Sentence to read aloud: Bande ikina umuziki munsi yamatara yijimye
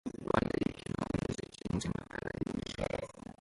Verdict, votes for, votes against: rejected, 0, 2